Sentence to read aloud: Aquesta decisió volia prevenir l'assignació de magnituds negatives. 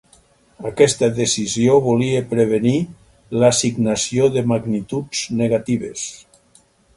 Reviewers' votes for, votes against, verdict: 6, 0, accepted